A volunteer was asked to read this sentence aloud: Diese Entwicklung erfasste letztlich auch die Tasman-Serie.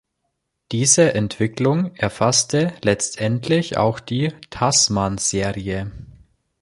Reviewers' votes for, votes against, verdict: 1, 2, rejected